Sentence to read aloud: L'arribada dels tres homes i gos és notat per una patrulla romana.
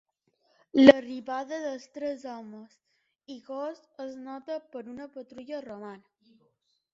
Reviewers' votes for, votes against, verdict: 1, 2, rejected